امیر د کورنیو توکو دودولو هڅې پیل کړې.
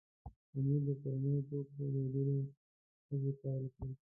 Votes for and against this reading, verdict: 1, 2, rejected